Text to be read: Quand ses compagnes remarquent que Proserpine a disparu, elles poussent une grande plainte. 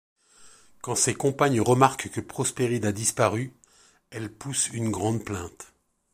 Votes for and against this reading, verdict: 1, 2, rejected